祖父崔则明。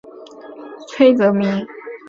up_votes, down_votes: 0, 2